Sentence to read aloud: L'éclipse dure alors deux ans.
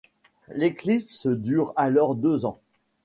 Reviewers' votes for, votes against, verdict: 2, 0, accepted